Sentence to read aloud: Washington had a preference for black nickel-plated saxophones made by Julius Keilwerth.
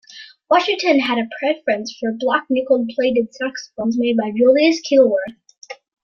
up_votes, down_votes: 2, 0